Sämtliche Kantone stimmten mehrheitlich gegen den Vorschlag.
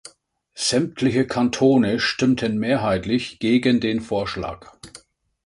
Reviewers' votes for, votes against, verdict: 2, 0, accepted